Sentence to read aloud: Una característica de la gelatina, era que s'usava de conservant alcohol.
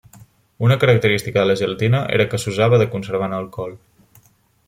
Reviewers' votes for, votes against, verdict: 1, 2, rejected